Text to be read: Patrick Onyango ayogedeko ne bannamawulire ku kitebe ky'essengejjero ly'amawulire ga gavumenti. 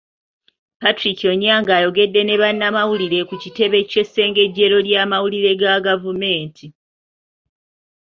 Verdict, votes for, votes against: rejected, 1, 2